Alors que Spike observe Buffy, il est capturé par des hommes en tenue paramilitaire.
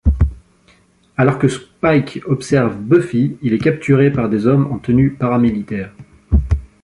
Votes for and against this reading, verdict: 2, 1, accepted